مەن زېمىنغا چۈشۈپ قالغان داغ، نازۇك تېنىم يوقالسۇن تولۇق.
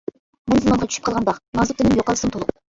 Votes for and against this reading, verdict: 0, 2, rejected